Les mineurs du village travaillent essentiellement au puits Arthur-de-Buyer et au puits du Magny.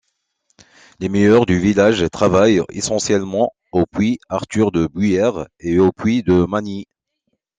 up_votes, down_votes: 0, 2